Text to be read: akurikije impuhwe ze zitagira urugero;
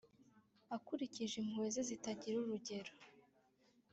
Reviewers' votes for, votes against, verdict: 2, 0, accepted